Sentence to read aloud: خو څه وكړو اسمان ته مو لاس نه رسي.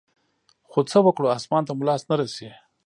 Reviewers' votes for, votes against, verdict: 2, 0, accepted